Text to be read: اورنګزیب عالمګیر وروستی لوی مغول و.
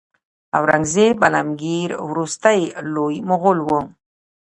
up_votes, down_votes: 2, 0